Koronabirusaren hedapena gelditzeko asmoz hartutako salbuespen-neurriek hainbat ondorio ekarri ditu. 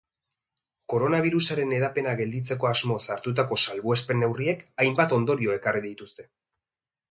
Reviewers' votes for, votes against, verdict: 0, 2, rejected